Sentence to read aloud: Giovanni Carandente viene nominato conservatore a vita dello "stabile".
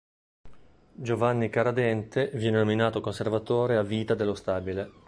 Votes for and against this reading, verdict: 1, 2, rejected